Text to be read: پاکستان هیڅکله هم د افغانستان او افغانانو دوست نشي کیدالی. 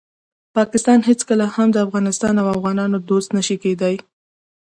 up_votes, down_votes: 2, 0